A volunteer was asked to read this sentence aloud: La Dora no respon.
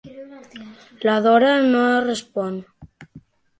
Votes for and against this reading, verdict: 3, 0, accepted